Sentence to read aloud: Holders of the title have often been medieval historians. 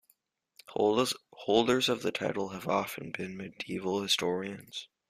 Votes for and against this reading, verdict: 1, 2, rejected